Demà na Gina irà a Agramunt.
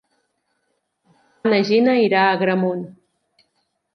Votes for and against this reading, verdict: 0, 2, rejected